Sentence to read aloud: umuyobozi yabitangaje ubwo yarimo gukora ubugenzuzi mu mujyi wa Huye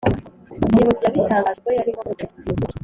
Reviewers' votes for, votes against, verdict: 1, 2, rejected